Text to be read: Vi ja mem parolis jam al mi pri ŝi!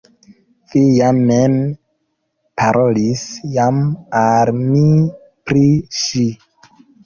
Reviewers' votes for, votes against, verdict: 2, 0, accepted